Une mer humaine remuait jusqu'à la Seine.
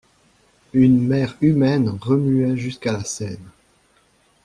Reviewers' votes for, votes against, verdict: 2, 0, accepted